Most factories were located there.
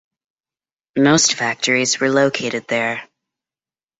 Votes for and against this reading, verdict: 0, 2, rejected